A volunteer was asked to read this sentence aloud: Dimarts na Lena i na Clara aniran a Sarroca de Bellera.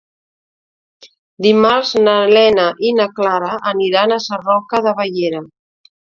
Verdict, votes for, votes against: accepted, 2, 1